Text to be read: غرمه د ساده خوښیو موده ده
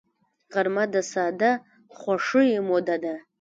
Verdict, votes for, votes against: rejected, 1, 2